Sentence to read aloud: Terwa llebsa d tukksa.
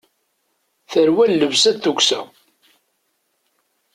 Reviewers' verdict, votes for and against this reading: rejected, 1, 2